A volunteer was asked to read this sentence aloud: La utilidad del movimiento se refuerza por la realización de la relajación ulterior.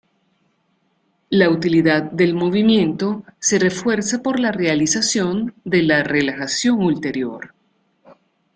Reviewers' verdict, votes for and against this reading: accepted, 2, 0